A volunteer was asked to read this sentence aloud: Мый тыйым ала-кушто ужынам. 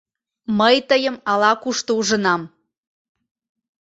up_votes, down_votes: 2, 0